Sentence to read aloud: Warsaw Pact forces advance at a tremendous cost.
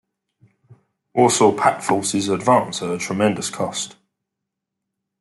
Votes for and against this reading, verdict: 1, 2, rejected